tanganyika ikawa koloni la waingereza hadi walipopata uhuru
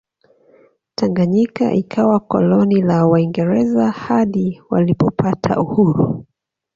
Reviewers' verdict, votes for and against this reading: accepted, 2, 0